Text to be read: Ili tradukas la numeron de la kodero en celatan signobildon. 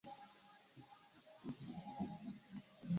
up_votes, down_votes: 1, 3